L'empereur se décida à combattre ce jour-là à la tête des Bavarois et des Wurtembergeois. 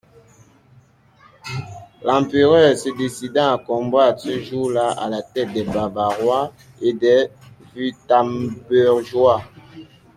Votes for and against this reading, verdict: 1, 2, rejected